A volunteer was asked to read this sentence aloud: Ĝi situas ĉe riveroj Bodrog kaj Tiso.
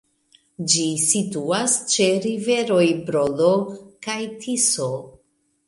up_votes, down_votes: 1, 2